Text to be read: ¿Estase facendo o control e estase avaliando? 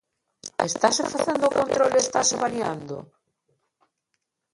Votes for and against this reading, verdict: 2, 1, accepted